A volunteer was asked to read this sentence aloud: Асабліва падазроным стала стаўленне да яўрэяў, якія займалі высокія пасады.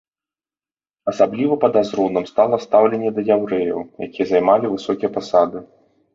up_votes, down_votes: 2, 0